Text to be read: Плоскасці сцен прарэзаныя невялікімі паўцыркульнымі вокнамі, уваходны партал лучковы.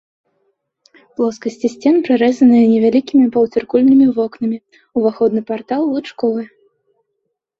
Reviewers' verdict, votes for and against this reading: accepted, 2, 0